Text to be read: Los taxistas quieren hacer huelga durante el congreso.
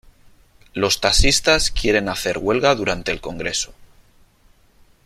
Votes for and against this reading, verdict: 3, 0, accepted